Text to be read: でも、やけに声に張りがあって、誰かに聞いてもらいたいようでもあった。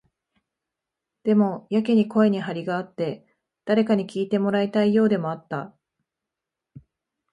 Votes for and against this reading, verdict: 2, 0, accepted